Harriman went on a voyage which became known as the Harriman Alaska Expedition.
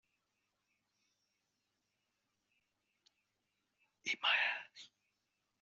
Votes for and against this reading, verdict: 0, 2, rejected